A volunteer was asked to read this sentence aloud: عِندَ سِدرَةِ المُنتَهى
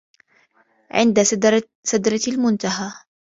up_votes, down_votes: 0, 2